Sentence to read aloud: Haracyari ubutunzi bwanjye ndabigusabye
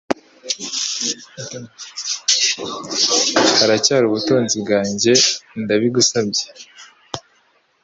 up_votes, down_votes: 3, 1